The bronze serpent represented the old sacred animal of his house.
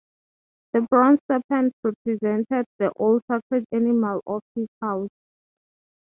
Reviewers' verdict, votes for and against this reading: rejected, 3, 3